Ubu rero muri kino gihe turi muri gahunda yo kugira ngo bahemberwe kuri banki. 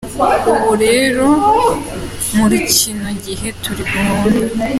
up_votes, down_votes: 0, 2